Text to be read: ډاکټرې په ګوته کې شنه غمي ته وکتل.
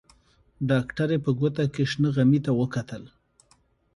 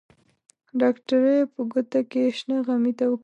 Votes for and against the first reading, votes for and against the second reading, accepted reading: 2, 0, 0, 2, first